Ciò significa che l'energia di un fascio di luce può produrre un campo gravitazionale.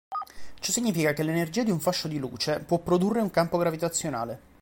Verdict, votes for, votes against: rejected, 1, 2